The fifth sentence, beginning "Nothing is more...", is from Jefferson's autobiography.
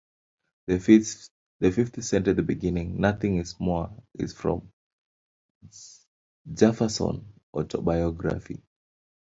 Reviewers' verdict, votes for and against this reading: rejected, 0, 2